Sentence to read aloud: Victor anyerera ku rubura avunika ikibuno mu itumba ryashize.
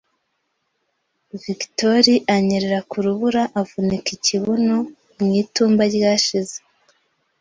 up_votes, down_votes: 2, 0